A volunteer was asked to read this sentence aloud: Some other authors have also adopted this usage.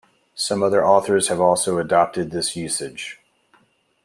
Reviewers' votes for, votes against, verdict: 2, 0, accepted